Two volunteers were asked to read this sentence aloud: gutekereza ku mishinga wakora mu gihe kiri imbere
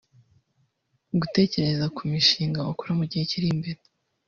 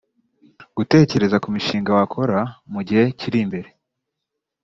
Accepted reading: second